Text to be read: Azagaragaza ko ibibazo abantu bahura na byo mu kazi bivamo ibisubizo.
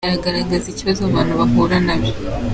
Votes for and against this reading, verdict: 0, 2, rejected